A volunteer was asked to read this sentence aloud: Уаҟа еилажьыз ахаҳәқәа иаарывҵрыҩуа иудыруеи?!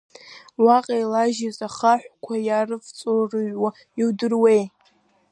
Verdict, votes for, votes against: rejected, 1, 2